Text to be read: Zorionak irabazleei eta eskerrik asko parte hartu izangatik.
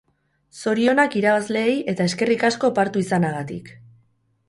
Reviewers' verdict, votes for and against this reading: rejected, 0, 4